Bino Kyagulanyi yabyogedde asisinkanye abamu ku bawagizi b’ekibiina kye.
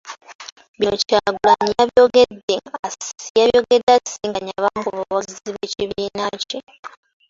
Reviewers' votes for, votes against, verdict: 0, 2, rejected